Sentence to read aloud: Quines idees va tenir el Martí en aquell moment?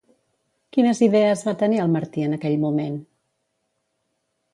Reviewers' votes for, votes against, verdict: 2, 0, accepted